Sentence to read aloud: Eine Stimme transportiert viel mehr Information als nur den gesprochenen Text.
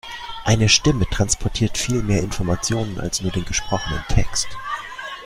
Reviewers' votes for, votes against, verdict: 2, 0, accepted